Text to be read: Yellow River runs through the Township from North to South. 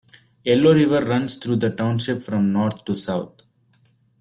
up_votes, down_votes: 2, 0